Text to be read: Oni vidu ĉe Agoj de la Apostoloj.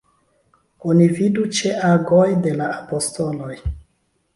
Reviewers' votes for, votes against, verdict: 2, 1, accepted